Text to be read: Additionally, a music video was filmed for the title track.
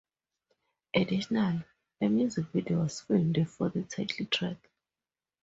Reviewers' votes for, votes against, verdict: 0, 2, rejected